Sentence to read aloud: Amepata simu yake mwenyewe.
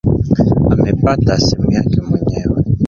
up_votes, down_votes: 1, 2